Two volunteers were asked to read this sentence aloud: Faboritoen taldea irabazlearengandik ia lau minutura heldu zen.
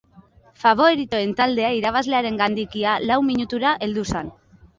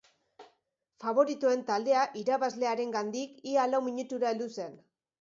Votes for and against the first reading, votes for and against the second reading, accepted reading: 0, 3, 2, 0, second